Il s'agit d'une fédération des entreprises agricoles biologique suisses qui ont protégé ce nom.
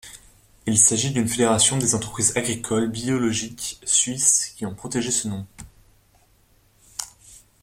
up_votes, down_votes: 2, 0